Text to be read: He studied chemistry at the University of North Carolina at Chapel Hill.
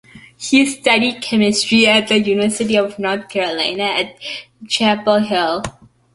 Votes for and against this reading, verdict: 2, 0, accepted